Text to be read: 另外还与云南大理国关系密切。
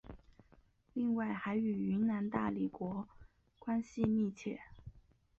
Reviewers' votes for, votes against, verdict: 2, 0, accepted